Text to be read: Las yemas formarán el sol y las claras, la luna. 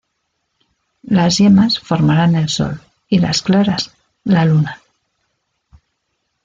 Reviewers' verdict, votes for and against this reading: accepted, 2, 0